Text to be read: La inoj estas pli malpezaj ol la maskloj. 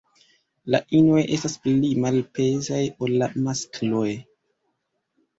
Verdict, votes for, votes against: rejected, 1, 2